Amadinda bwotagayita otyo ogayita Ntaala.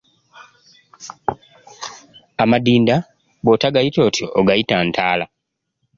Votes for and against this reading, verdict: 1, 2, rejected